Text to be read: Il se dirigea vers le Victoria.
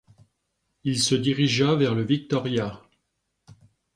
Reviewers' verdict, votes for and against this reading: accepted, 2, 0